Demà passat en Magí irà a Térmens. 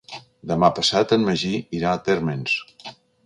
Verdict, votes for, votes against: accepted, 3, 0